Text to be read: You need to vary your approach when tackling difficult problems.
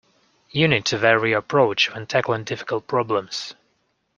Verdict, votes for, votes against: accepted, 2, 0